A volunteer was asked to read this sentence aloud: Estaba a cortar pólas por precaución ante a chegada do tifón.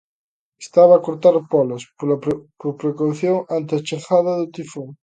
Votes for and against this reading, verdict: 0, 2, rejected